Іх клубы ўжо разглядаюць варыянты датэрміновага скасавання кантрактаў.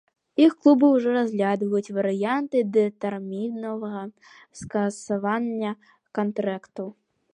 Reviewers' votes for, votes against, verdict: 0, 2, rejected